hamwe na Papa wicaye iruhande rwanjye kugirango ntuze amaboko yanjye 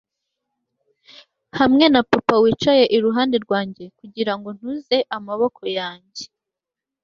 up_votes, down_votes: 2, 0